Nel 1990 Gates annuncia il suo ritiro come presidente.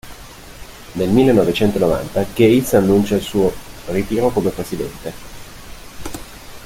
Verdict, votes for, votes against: rejected, 0, 2